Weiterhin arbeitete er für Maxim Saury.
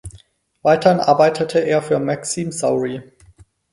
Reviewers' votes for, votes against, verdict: 0, 4, rejected